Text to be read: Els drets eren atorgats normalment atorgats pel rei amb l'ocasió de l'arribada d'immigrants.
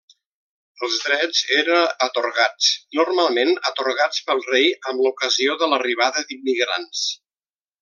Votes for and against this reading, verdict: 1, 2, rejected